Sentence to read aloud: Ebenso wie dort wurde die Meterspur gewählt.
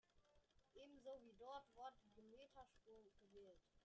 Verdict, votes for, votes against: rejected, 0, 2